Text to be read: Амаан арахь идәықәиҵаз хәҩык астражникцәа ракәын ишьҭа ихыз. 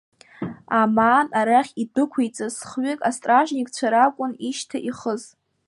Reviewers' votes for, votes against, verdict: 2, 0, accepted